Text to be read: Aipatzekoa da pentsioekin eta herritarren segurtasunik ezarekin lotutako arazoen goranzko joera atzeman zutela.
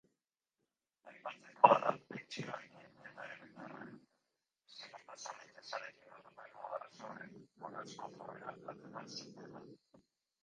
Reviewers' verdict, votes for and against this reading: rejected, 0, 2